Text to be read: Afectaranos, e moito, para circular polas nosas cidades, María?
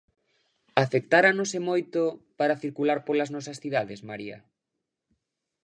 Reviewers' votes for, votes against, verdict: 0, 2, rejected